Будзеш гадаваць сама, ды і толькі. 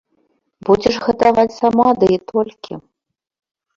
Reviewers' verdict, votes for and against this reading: accepted, 2, 0